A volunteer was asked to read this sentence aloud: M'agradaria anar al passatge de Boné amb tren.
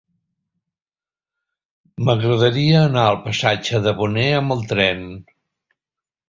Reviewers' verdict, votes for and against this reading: rejected, 0, 2